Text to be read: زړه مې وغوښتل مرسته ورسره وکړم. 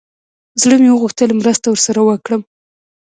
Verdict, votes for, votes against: accepted, 2, 0